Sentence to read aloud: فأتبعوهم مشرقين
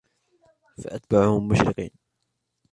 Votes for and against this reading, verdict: 2, 1, accepted